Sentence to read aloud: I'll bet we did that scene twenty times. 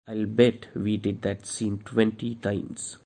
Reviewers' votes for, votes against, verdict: 2, 0, accepted